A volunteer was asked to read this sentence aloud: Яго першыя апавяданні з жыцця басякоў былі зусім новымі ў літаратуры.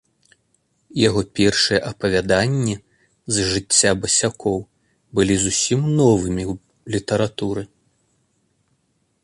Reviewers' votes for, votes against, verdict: 2, 0, accepted